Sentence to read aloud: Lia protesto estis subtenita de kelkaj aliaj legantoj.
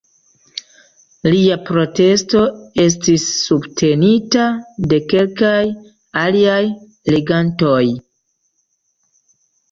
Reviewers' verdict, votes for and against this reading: rejected, 0, 2